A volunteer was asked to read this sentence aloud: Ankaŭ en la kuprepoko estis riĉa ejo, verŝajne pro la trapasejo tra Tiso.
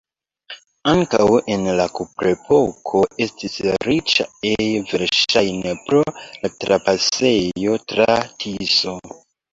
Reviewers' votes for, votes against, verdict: 2, 0, accepted